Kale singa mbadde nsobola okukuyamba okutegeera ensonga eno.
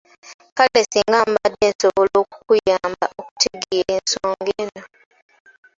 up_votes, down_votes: 0, 2